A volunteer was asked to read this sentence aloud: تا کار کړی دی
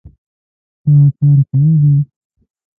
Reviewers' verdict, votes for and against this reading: rejected, 1, 3